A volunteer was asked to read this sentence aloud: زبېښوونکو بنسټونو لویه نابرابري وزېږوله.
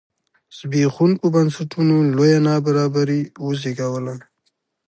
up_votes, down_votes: 2, 0